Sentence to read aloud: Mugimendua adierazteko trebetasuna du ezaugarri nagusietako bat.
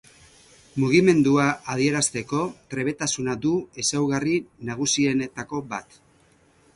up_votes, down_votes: 2, 2